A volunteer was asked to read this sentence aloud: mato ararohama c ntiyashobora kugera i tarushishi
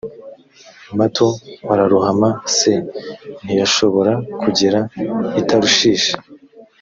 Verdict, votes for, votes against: accepted, 2, 0